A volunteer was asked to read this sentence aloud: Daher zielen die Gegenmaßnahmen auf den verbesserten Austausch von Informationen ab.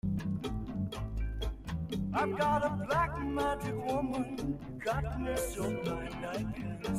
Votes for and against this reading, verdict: 0, 2, rejected